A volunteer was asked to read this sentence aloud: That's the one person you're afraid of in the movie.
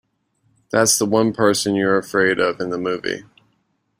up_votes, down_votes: 2, 0